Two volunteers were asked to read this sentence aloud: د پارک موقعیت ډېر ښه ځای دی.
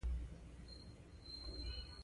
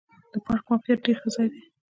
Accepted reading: first